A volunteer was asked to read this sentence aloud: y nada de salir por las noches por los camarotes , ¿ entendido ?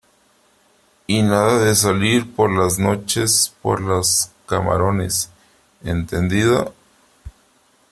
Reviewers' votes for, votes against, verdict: 1, 2, rejected